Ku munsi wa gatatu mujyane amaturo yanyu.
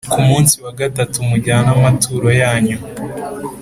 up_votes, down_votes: 2, 0